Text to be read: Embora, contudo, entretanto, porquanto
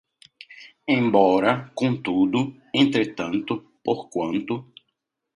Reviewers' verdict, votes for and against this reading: accepted, 2, 0